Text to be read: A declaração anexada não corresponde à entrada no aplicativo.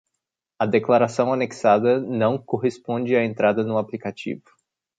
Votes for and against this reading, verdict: 2, 0, accepted